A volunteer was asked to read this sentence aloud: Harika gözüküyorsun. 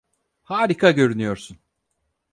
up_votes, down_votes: 2, 4